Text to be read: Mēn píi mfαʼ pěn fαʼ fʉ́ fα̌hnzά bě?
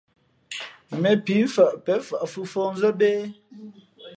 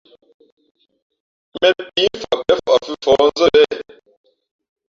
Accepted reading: first